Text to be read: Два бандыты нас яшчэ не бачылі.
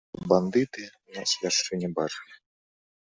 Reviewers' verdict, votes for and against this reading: rejected, 0, 2